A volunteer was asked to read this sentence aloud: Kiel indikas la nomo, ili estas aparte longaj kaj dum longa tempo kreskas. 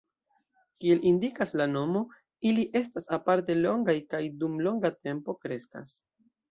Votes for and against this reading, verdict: 2, 1, accepted